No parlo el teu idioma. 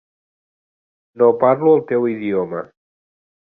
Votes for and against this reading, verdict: 3, 0, accepted